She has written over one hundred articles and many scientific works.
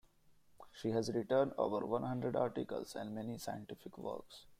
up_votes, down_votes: 1, 2